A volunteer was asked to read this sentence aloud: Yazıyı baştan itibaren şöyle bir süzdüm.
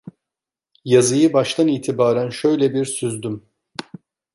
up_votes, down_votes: 2, 0